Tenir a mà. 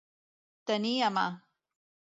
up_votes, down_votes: 2, 0